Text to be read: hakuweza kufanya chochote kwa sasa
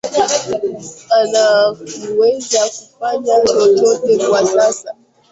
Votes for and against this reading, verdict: 0, 2, rejected